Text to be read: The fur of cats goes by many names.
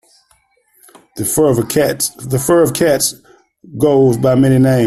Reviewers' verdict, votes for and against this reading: rejected, 1, 2